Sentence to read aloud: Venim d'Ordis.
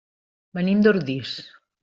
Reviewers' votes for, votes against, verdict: 1, 2, rejected